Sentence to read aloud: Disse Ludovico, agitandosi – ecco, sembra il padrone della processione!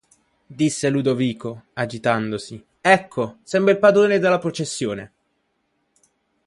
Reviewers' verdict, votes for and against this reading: accepted, 2, 0